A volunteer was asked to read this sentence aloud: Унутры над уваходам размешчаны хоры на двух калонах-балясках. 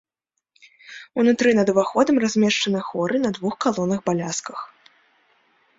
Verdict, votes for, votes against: accepted, 2, 0